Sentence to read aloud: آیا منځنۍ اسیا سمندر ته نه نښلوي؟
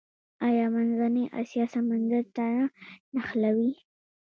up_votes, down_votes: 1, 2